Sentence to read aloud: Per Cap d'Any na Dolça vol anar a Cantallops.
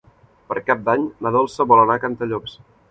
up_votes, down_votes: 3, 0